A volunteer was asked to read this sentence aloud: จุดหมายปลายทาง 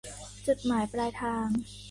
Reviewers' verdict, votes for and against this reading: accepted, 2, 0